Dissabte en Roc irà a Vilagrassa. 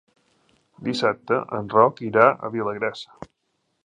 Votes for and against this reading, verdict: 2, 0, accepted